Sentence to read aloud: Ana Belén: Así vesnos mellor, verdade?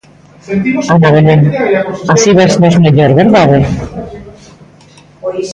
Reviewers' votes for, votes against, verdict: 1, 2, rejected